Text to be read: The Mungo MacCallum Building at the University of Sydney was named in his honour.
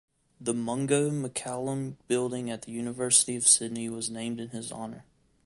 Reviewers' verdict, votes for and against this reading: accepted, 2, 0